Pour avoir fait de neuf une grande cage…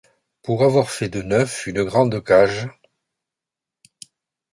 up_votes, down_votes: 2, 0